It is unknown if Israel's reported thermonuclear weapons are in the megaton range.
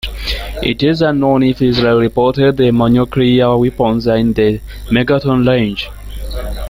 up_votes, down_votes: 0, 2